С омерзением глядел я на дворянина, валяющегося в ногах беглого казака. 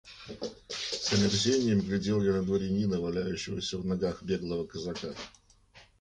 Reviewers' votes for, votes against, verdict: 2, 0, accepted